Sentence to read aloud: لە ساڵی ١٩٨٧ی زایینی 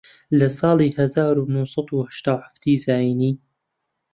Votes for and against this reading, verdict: 0, 2, rejected